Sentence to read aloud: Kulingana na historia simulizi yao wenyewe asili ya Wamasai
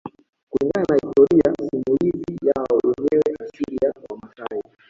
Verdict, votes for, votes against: rejected, 0, 2